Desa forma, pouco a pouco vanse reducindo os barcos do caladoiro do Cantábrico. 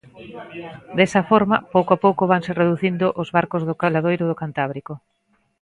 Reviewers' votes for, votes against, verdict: 2, 0, accepted